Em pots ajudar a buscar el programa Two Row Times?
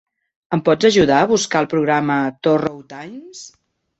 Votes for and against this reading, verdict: 0, 2, rejected